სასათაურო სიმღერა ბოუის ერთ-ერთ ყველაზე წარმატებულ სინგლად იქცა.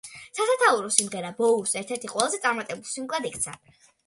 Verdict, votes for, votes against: accepted, 2, 0